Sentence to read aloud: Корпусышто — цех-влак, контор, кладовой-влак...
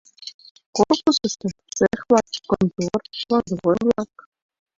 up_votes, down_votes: 0, 2